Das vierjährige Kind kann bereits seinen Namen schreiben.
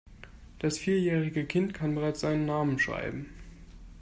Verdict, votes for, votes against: accepted, 2, 0